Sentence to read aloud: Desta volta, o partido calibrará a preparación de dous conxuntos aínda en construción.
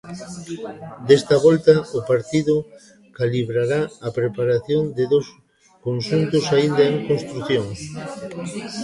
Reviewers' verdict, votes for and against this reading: rejected, 1, 2